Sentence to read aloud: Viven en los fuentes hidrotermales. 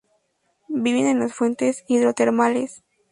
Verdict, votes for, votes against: accepted, 2, 0